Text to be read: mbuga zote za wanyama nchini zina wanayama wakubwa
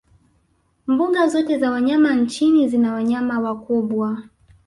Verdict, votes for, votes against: accepted, 2, 1